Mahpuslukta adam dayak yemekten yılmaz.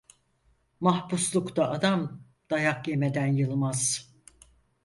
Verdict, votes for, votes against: rejected, 2, 4